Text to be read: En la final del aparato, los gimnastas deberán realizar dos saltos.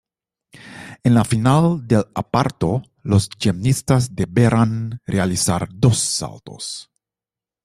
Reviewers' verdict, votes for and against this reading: rejected, 1, 2